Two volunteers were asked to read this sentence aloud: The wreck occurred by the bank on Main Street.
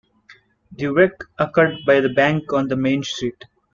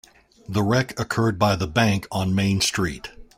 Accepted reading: second